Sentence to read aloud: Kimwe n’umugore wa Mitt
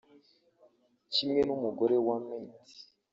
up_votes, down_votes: 4, 2